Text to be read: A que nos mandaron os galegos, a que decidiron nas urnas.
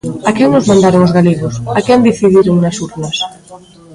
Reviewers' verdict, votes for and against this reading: rejected, 0, 2